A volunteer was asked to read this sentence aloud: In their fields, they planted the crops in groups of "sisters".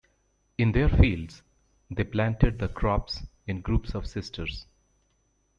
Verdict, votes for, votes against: rejected, 0, 2